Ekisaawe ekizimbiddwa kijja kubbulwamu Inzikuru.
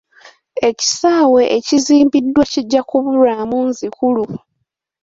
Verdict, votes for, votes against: rejected, 0, 2